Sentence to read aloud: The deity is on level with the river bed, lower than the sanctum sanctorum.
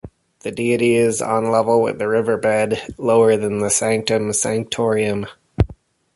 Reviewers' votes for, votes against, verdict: 1, 2, rejected